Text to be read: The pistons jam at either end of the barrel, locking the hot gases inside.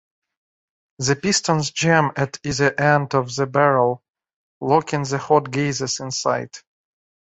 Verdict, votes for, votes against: rejected, 0, 2